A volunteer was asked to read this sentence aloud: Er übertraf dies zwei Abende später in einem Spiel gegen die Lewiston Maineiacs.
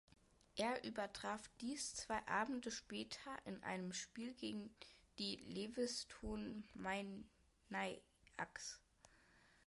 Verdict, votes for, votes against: rejected, 0, 2